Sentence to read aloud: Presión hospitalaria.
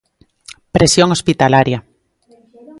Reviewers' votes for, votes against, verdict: 3, 0, accepted